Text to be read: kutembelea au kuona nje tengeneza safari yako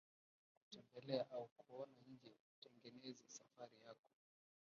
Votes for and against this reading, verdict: 0, 2, rejected